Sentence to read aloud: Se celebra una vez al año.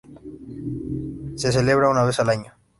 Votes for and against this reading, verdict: 2, 0, accepted